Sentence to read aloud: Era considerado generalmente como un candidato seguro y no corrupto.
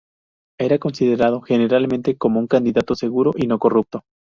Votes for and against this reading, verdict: 2, 0, accepted